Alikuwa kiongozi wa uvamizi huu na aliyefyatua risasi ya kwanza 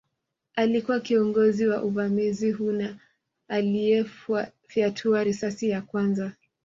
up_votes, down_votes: 2, 1